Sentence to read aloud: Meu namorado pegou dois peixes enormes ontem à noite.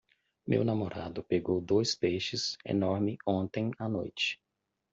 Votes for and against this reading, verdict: 0, 2, rejected